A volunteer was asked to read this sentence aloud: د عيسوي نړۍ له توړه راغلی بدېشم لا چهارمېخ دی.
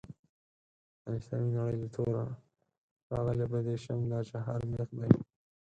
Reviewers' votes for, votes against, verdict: 0, 4, rejected